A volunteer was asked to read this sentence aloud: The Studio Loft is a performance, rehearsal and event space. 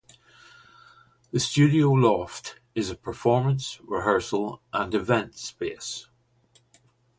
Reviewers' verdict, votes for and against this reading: accepted, 2, 0